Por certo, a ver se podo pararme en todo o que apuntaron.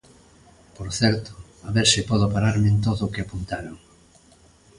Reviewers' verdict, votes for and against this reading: accepted, 2, 0